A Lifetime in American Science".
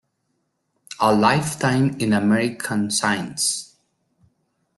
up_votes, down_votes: 1, 2